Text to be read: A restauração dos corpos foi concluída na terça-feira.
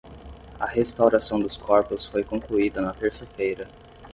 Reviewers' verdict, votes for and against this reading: rejected, 5, 5